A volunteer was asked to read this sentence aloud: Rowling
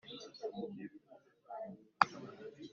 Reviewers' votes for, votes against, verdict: 0, 2, rejected